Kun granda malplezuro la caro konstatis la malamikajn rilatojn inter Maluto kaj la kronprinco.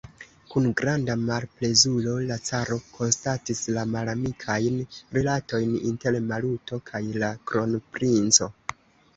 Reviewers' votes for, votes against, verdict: 2, 0, accepted